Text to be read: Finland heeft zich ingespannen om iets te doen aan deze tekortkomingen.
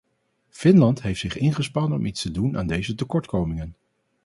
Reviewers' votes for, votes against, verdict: 2, 0, accepted